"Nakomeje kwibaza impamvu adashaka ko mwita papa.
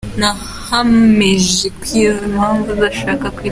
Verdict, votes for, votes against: rejected, 0, 2